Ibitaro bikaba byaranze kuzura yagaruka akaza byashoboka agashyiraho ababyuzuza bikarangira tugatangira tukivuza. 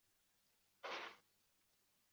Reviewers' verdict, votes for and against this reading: rejected, 0, 2